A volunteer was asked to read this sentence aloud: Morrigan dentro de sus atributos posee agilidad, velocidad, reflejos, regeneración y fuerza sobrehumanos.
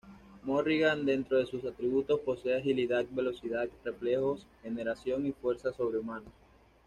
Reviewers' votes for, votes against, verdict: 2, 0, accepted